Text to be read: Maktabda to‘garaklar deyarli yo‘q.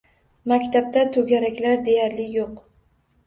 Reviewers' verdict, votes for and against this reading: accepted, 2, 0